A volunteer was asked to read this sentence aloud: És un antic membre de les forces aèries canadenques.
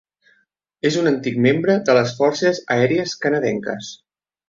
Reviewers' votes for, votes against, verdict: 3, 0, accepted